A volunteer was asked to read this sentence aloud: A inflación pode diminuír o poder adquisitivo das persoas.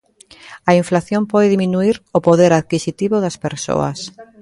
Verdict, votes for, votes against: rejected, 1, 2